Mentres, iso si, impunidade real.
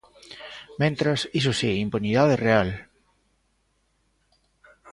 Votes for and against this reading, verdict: 1, 2, rejected